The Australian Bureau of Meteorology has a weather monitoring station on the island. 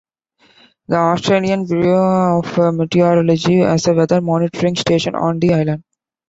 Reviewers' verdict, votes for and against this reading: rejected, 1, 2